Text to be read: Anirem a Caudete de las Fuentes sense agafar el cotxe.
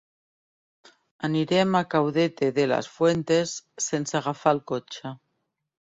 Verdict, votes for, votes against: accepted, 2, 0